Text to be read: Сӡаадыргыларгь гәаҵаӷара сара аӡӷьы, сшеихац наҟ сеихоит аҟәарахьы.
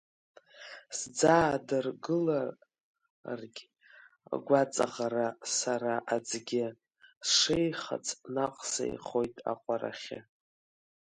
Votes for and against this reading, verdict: 0, 2, rejected